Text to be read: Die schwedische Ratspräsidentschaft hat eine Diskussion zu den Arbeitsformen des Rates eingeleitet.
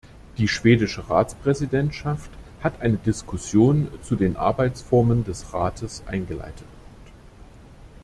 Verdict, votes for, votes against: rejected, 1, 2